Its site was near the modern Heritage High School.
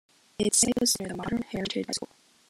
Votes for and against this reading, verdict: 0, 2, rejected